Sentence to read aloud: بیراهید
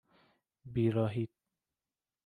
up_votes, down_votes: 0, 2